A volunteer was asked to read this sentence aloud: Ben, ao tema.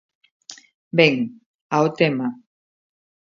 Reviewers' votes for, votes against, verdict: 2, 0, accepted